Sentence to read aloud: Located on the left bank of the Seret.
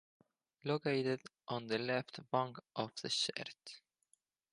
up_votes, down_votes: 4, 0